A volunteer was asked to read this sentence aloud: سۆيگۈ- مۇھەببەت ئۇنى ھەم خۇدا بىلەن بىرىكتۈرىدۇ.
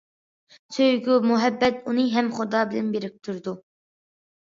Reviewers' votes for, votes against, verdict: 2, 1, accepted